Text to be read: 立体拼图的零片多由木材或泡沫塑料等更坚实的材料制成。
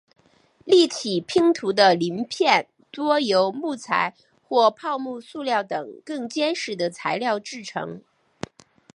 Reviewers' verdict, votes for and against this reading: accepted, 5, 0